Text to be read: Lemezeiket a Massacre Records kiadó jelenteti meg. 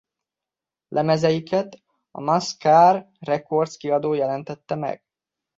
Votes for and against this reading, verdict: 0, 2, rejected